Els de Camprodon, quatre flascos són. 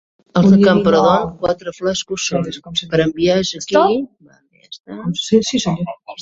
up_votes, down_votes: 1, 2